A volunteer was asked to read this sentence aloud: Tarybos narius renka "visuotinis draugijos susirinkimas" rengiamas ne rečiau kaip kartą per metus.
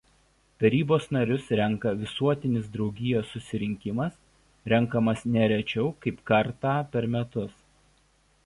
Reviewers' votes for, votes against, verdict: 2, 0, accepted